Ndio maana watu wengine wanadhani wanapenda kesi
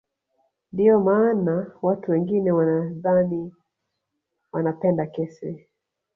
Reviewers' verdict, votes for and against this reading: accepted, 4, 0